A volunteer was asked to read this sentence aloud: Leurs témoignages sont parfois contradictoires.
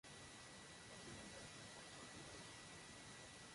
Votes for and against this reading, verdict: 0, 2, rejected